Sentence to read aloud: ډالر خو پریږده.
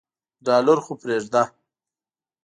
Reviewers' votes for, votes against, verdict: 3, 0, accepted